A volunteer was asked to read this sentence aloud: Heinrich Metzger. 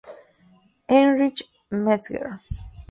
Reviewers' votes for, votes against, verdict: 2, 2, rejected